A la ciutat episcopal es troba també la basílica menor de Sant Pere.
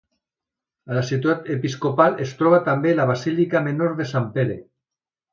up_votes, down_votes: 2, 0